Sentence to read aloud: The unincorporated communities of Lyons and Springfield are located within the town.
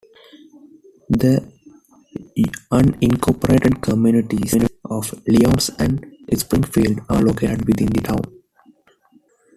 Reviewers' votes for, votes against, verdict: 0, 2, rejected